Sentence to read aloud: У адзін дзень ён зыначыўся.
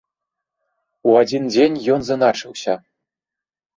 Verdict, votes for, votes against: rejected, 1, 3